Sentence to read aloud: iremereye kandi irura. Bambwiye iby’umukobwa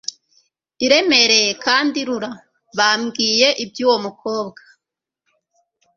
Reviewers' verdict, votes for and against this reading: rejected, 1, 2